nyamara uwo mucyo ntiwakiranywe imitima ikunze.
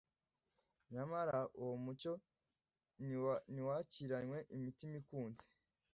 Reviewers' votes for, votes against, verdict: 1, 2, rejected